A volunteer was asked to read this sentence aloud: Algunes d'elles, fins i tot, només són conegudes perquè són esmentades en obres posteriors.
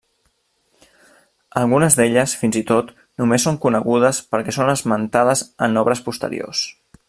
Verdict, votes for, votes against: accepted, 2, 0